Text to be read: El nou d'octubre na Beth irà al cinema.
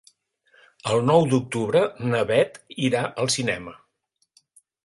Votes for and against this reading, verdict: 4, 0, accepted